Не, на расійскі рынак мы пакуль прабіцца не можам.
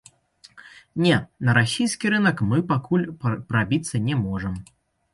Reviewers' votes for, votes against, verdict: 0, 2, rejected